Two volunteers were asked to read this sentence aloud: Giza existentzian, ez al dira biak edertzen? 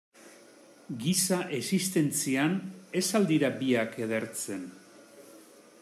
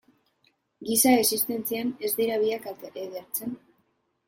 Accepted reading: first